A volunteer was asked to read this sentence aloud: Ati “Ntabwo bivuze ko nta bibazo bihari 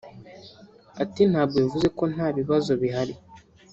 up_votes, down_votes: 0, 2